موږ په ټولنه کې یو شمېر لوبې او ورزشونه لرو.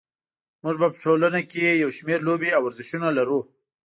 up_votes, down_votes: 0, 2